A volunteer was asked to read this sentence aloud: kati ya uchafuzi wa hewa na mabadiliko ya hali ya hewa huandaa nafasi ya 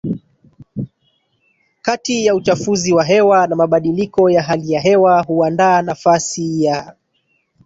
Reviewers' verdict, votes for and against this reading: rejected, 1, 2